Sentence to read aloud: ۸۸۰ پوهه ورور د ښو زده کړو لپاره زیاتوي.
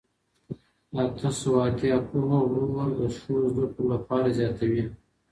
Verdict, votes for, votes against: rejected, 0, 2